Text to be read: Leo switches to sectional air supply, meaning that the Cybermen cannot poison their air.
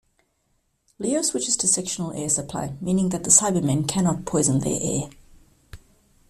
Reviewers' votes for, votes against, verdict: 2, 0, accepted